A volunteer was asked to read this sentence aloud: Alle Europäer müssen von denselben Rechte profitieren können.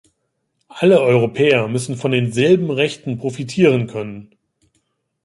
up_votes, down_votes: 1, 2